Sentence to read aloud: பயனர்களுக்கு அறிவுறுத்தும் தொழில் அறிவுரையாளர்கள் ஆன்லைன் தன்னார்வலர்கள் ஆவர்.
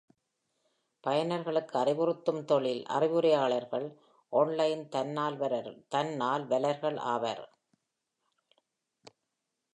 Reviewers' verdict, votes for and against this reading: rejected, 0, 2